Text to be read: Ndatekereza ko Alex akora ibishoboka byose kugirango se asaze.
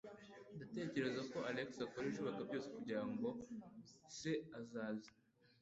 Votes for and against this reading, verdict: 2, 1, accepted